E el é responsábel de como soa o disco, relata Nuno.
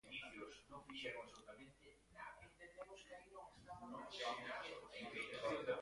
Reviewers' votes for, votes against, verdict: 0, 2, rejected